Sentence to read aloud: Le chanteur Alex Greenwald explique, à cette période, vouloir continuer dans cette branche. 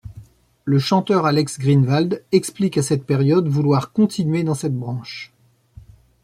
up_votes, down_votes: 2, 0